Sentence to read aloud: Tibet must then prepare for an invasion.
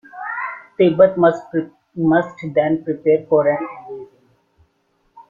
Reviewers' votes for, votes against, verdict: 2, 3, rejected